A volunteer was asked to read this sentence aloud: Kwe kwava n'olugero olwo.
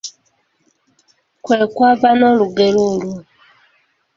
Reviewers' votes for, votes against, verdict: 2, 0, accepted